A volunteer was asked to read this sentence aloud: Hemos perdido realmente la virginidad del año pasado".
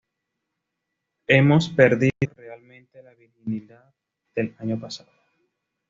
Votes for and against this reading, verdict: 2, 0, accepted